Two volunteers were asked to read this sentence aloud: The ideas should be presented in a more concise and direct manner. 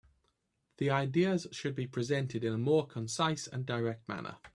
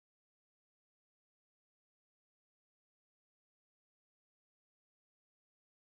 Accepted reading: first